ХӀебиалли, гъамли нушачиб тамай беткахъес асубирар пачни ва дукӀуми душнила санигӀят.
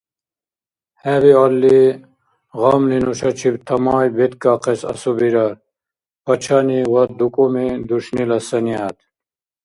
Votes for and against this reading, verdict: 0, 2, rejected